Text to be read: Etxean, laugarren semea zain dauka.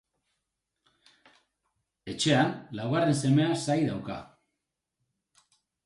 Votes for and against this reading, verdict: 2, 4, rejected